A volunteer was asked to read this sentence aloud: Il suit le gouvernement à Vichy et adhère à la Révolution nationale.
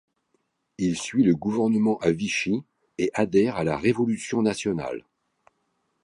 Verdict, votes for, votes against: rejected, 0, 2